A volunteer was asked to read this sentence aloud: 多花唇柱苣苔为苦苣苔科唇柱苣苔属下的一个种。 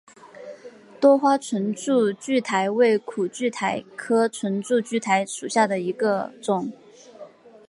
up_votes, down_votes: 8, 0